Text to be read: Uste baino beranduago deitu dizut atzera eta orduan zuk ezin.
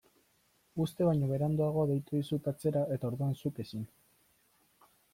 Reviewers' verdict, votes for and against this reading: rejected, 0, 2